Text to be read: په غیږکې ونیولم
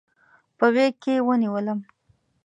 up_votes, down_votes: 2, 0